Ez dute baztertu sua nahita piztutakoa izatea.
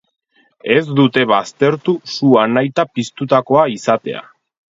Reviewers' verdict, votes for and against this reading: accepted, 4, 0